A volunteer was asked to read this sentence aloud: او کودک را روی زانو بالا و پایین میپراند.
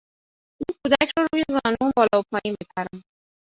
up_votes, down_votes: 1, 2